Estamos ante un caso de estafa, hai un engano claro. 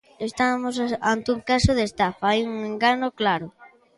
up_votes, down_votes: 1, 2